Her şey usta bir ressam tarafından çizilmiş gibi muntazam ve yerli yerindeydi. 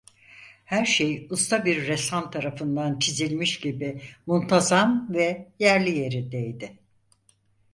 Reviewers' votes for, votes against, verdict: 4, 0, accepted